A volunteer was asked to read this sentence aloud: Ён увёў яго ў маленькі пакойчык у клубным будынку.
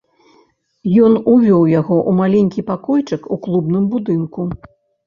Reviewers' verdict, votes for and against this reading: rejected, 1, 2